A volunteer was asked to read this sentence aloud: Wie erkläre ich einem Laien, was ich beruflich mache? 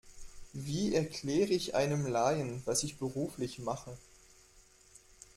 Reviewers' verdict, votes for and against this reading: accepted, 2, 0